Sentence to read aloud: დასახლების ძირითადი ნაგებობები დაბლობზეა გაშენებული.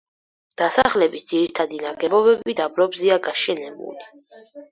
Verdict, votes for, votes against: accepted, 4, 0